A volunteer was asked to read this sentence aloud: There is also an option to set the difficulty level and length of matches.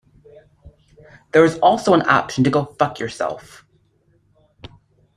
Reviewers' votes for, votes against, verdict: 0, 2, rejected